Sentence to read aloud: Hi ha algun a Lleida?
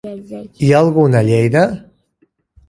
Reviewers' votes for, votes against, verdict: 2, 1, accepted